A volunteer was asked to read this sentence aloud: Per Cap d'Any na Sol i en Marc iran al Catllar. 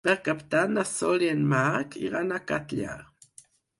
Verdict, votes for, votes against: rejected, 2, 4